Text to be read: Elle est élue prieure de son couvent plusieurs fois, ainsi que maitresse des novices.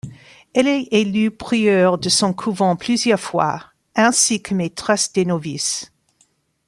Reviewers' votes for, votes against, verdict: 2, 0, accepted